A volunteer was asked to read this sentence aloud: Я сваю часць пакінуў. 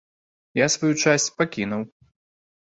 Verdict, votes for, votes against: accepted, 2, 0